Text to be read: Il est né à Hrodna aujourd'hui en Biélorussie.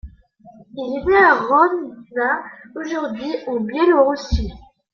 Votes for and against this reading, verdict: 1, 2, rejected